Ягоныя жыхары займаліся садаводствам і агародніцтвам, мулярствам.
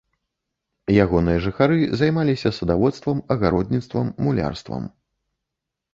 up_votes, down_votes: 0, 2